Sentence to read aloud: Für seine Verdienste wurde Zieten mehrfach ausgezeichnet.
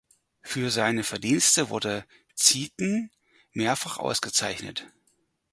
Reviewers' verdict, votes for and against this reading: accepted, 4, 0